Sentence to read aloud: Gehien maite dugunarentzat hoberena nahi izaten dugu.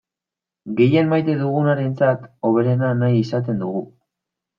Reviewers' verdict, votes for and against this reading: accepted, 2, 0